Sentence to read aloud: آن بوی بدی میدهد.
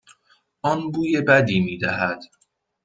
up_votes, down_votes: 2, 0